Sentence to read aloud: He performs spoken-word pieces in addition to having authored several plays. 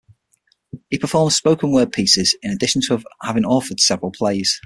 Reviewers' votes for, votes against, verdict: 0, 6, rejected